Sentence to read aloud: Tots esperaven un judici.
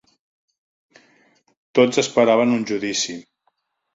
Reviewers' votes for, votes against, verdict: 3, 0, accepted